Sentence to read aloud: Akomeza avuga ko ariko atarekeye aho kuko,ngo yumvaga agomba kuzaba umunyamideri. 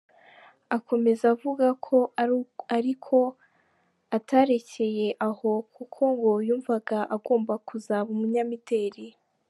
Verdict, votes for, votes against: rejected, 1, 2